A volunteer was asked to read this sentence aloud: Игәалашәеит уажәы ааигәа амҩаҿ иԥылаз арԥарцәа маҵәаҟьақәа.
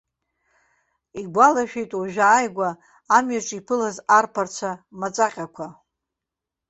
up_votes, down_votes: 2, 0